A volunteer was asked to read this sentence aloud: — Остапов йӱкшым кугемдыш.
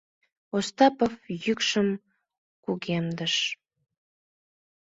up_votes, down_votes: 2, 0